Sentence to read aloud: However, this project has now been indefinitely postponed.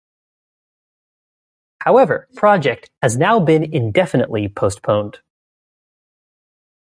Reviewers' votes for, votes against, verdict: 0, 2, rejected